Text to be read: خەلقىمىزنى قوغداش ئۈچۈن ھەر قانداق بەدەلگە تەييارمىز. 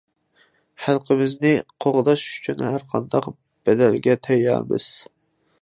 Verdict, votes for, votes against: accepted, 2, 0